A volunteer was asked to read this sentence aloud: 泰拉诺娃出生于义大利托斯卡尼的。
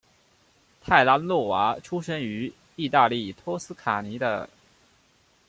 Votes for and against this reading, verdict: 2, 0, accepted